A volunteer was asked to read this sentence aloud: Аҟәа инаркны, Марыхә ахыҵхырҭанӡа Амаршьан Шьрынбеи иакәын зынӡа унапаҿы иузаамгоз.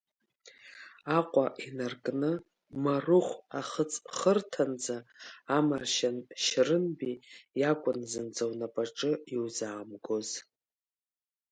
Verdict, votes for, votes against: rejected, 1, 2